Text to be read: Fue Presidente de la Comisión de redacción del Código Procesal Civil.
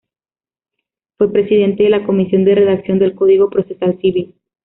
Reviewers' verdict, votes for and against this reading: accepted, 2, 0